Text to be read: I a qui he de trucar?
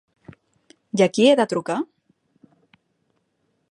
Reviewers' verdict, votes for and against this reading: accepted, 3, 0